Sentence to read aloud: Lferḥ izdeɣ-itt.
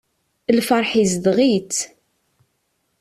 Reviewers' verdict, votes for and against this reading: accepted, 2, 0